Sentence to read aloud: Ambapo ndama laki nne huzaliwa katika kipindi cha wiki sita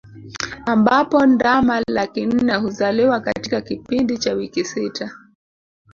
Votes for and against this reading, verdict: 2, 0, accepted